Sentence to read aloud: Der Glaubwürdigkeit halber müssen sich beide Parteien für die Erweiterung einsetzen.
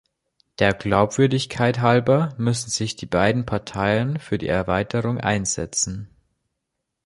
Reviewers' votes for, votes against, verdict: 0, 2, rejected